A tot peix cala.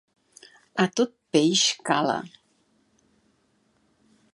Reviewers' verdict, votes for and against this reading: accepted, 2, 0